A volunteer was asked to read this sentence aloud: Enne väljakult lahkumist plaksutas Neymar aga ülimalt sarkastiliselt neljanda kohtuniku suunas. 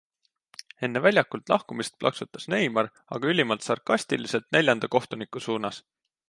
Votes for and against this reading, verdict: 2, 0, accepted